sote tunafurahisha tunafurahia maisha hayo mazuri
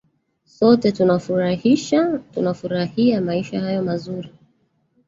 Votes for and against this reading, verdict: 1, 2, rejected